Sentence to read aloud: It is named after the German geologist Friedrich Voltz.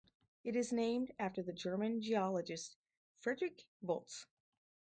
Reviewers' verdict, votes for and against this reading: rejected, 2, 2